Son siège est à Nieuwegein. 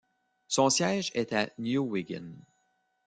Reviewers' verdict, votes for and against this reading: rejected, 1, 2